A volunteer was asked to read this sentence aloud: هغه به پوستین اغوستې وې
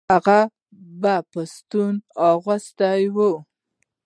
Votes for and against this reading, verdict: 1, 2, rejected